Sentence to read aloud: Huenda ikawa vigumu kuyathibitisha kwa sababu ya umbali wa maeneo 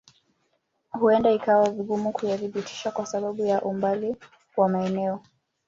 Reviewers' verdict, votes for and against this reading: rejected, 1, 2